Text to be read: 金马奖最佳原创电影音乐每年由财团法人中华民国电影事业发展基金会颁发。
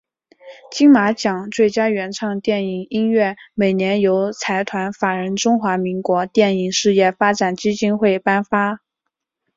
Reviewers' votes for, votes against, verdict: 3, 0, accepted